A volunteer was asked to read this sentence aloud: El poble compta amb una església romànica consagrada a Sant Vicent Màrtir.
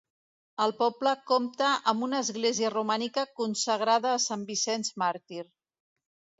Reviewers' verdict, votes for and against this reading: accepted, 2, 1